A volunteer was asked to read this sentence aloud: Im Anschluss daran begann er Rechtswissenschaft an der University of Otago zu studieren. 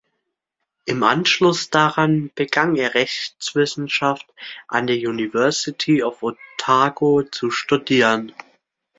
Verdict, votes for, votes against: accepted, 2, 0